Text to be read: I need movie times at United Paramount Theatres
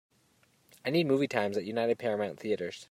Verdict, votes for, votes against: accepted, 3, 0